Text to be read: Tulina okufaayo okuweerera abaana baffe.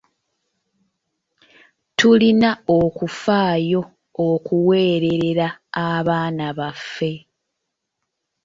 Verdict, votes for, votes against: rejected, 1, 2